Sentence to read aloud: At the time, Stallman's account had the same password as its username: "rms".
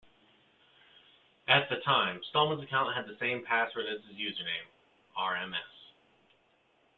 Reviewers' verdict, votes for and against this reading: accepted, 2, 0